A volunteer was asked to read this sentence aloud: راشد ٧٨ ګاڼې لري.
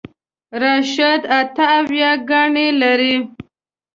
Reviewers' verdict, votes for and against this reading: rejected, 0, 2